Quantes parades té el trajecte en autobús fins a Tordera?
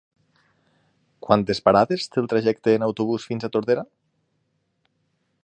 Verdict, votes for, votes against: accepted, 6, 0